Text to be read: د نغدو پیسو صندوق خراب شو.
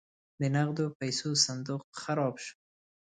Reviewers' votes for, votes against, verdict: 2, 0, accepted